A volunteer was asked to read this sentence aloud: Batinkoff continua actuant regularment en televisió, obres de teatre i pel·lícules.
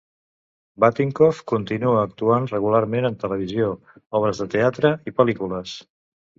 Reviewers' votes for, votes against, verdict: 2, 0, accepted